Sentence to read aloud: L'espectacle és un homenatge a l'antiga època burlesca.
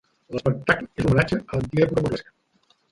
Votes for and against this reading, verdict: 0, 2, rejected